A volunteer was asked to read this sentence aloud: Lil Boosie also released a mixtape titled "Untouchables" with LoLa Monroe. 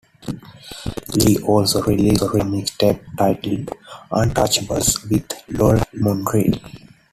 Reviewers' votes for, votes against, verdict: 0, 2, rejected